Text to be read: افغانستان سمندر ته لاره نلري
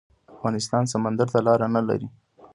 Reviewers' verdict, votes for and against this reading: rejected, 1, 2